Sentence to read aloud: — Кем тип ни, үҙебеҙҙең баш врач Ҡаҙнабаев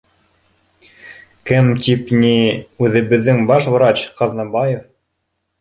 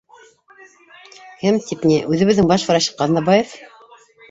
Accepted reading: first